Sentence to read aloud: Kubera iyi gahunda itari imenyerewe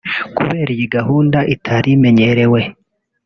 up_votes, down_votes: 1, 2